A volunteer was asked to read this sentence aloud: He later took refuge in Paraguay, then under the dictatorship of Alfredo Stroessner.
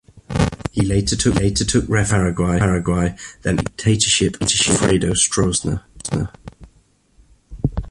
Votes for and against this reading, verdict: 0, 2, rejected